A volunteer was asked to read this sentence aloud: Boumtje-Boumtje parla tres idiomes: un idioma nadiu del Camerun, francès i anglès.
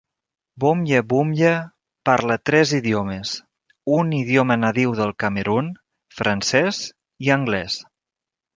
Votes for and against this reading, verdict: 2, 0, accepted